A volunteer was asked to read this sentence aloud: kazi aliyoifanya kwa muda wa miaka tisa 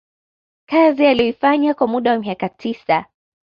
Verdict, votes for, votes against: accepted, 2, 0